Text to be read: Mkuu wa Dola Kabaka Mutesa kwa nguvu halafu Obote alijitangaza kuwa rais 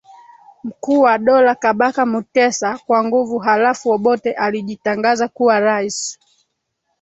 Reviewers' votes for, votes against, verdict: 1, 2, rejected